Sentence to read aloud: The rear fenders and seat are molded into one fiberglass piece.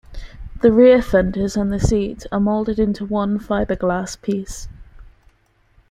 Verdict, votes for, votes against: accepted, 2, 0